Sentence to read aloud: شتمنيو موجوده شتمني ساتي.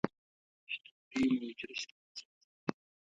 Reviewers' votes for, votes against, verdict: 0, 2, rejected